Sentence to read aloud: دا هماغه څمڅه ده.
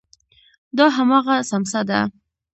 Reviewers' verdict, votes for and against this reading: accepted, 2, 0